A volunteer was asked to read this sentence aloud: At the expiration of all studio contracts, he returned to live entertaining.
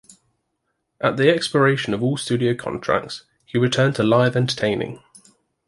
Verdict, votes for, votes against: accepted, 2, 0